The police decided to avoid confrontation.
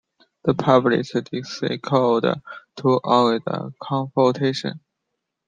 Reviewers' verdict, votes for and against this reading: rejected, 1, 2